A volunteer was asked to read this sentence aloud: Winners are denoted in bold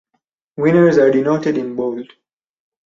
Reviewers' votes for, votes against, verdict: 0, 2, rejected